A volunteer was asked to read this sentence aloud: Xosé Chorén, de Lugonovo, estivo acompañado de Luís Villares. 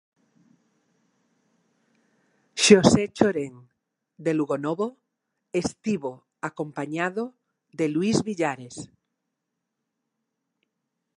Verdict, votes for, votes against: accepted, 2, 0